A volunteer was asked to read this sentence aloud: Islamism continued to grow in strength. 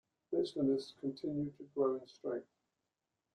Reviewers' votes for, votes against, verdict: 1, 2, rejected